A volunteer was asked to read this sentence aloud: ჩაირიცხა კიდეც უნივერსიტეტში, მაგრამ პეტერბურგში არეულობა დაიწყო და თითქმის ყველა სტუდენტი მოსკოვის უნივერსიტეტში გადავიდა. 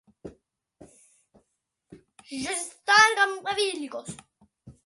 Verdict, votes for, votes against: rejected, 0, 2